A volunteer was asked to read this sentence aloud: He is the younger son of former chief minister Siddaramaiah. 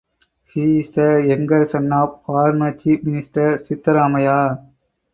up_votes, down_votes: 2, 4